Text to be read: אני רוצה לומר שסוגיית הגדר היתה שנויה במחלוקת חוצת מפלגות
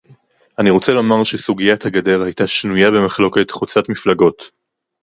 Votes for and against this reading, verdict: 0, 2, rejected